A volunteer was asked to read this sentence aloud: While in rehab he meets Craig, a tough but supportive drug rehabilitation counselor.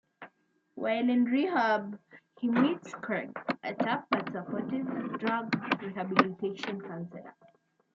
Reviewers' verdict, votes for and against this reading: rejected, 1, 2